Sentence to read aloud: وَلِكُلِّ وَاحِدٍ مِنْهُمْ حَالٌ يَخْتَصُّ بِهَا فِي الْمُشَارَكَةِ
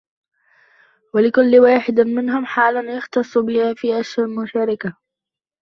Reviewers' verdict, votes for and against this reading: accepted, 2, 0